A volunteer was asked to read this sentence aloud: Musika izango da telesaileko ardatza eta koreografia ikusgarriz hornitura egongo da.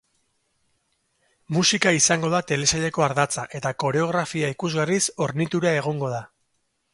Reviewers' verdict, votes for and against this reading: accepted, 2, 0